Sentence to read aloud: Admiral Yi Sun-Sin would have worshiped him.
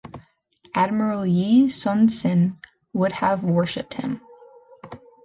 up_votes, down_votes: 2, 1